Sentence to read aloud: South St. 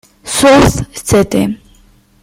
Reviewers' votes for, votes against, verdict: 0, 2, rejected